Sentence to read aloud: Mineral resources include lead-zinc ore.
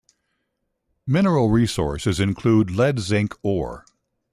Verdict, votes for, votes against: accepted, 3, 0